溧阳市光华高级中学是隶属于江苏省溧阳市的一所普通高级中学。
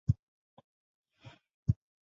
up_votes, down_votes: 1, 2